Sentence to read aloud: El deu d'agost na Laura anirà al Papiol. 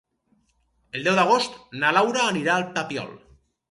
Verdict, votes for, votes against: accepted, 4, 0